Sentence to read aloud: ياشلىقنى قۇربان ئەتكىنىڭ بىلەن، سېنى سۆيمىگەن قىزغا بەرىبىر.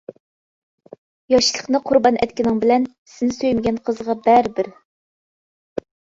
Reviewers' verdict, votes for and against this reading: accepted, 2, 0